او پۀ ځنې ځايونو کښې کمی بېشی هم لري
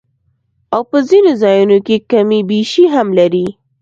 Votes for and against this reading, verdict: 2, 0, accepted